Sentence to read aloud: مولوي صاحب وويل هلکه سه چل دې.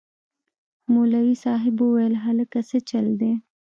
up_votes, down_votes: 3, 0